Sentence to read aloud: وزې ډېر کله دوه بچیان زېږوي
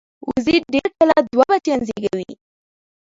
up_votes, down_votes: 0, 2